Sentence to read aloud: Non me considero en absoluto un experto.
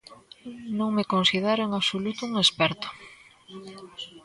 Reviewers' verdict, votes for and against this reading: rejected, 1, 2